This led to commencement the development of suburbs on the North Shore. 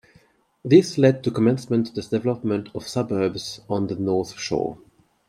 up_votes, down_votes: 0, 2